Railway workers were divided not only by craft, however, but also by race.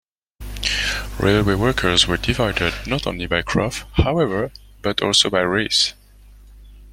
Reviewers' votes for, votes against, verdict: 2, 0, accepted